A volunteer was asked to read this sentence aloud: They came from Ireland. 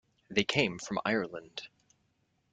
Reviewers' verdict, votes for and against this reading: rejected, 1, 2